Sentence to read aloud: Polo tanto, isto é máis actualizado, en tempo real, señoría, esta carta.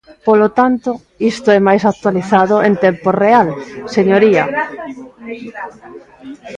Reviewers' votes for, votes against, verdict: 0, 2, rejected